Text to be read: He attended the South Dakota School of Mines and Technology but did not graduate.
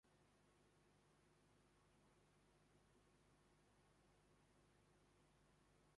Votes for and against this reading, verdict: 0, 2, rejected